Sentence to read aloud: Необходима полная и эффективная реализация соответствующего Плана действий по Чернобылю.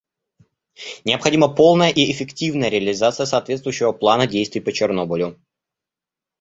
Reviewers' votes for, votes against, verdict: 2, 0, accepted